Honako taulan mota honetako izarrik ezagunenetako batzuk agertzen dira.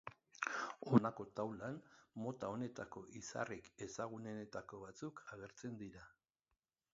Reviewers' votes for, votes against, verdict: 3, 4, rejected